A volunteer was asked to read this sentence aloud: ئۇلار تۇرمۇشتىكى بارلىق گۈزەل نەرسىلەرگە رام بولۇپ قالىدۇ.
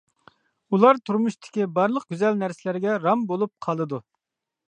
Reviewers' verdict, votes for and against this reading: accepted, 2, 0